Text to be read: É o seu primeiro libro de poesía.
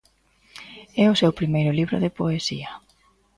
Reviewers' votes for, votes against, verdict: 2, 0, accepted